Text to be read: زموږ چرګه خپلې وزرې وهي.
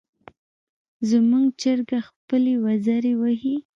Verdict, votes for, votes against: accepted, 2, 0